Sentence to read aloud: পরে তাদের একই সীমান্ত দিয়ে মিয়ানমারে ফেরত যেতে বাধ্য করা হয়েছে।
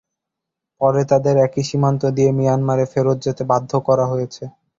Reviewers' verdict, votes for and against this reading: accepted, 6, 0